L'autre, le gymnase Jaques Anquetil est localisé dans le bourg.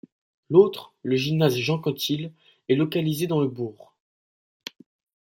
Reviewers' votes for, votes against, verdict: 1, 2, rejected